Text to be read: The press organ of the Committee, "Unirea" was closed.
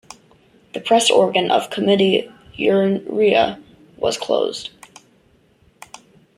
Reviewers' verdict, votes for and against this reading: accepted, 2, 0